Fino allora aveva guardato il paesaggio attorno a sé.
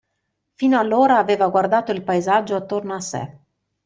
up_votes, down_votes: 2, 0